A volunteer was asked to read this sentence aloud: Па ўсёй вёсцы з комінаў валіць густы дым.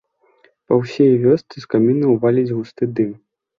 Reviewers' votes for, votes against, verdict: 1, 2, rejected